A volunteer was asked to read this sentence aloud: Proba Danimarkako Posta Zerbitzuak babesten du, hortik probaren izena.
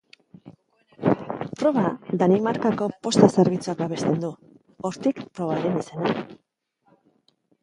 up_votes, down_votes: 3, 0